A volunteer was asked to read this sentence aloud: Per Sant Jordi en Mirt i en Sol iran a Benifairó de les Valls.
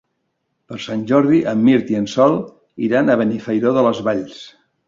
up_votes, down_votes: 3, 0